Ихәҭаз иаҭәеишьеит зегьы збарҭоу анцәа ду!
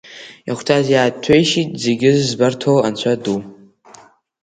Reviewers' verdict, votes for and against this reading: rejected, 3, 4